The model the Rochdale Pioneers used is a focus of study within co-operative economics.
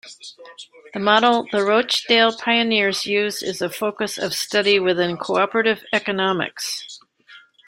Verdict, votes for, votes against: accepted, 2, 0